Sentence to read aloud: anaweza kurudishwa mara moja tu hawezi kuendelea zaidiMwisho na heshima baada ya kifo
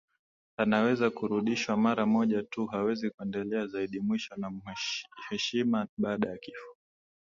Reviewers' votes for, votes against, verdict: 0, 2, rejected